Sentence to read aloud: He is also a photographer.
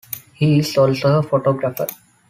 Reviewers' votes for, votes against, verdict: 2, 0, accepted